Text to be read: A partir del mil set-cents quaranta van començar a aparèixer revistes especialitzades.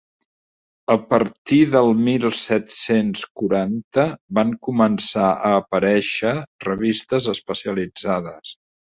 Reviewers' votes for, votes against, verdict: 4, 0, accepted